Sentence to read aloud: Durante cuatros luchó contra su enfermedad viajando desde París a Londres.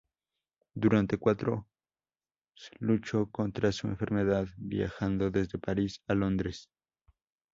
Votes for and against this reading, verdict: 0, 2, rejected